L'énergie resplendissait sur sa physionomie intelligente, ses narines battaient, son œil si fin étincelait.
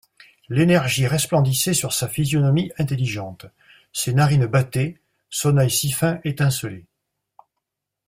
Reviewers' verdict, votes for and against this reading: accepted, 2, 0